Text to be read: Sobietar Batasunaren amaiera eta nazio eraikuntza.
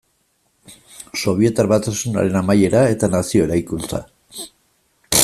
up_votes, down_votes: 2, 0